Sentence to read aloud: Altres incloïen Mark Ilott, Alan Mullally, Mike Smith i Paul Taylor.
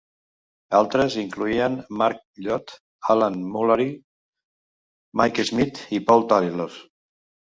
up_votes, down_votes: 0, 2